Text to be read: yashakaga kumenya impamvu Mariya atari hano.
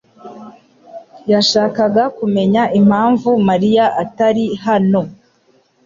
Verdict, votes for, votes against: accepted, 2, 0